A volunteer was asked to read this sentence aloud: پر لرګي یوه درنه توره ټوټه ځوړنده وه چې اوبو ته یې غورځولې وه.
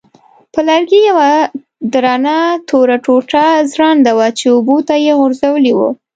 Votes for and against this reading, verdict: 2, 0, accepted